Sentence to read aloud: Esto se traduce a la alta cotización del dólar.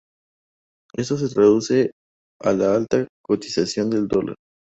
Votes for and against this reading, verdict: 2, 0, accepted